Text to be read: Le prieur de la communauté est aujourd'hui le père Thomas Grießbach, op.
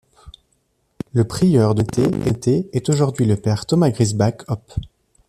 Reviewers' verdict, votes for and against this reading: rejected, 0, 2